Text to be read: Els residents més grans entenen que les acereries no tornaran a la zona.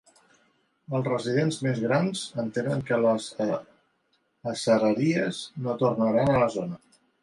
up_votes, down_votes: 0, 2